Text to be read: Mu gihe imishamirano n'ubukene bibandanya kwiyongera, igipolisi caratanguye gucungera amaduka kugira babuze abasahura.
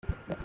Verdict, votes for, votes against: rejected, 0, 2